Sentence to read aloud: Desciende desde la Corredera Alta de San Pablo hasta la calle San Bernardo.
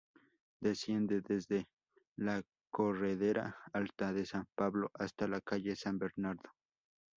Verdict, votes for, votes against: accepted, 2, 0